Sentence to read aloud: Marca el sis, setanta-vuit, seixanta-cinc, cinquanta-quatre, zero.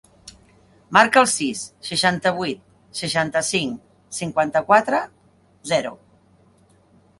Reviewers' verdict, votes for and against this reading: rejected, 0, 2